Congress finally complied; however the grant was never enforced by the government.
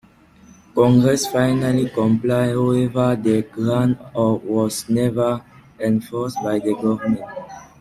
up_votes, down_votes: 0, 2